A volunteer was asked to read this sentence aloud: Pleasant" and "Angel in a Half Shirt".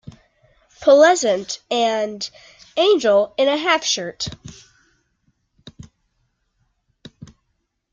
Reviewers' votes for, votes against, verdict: 2, 0, accepted